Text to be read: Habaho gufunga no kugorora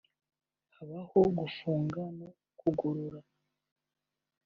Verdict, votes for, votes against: accepted, 2, 0